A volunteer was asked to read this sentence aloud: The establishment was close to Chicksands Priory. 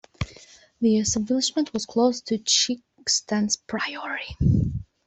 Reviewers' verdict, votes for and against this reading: accepted, 2, 0